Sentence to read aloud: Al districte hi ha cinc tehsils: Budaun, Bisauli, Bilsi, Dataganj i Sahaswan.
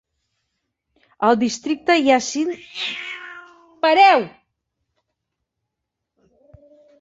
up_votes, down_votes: 0, 3